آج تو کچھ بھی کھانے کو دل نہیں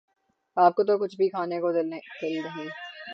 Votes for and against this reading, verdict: 3, 3, rejected